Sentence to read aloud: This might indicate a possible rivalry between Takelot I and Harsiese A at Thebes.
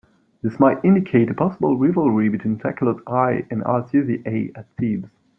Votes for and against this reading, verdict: 0, 2, rejected